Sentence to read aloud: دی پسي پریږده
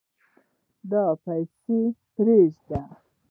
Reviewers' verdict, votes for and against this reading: accepted, 2, 1